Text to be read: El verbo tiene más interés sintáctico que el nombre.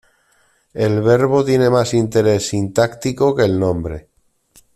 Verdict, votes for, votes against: accepted, 2, 0